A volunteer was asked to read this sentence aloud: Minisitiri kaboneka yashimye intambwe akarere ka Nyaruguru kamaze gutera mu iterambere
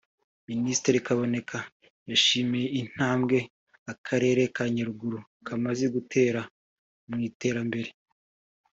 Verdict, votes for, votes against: accepted, 2, 0